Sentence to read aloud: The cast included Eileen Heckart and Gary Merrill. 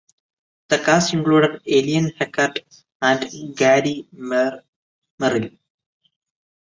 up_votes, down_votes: 0, 2